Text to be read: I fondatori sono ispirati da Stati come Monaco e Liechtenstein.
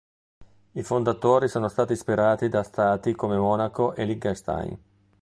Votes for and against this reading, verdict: 0, 2, rejected